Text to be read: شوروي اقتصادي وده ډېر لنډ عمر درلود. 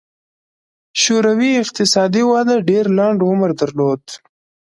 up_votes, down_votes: 2, 0